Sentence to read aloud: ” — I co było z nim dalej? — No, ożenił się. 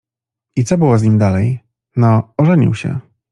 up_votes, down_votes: 2, 0